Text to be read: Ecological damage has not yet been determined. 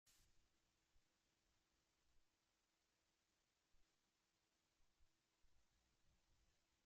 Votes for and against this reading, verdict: 0, 2, rejected